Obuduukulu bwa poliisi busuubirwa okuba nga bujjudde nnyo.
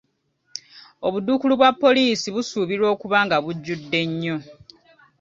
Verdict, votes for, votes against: accepted, 2, 0